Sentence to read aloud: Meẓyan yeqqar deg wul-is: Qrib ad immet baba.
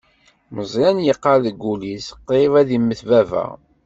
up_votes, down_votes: 2, 0